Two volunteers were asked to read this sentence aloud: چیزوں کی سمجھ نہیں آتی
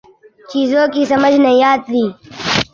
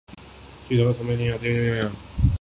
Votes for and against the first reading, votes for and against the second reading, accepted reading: 3, 0, 0, 2, first